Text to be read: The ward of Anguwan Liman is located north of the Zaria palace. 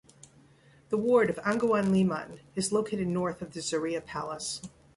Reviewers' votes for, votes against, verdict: 3, 0, accepted